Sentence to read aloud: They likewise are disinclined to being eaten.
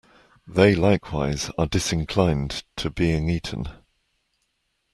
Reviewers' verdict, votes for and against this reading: accepted, 2, 0